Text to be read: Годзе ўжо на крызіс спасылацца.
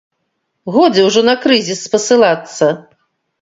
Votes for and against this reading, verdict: 2, 0, accepted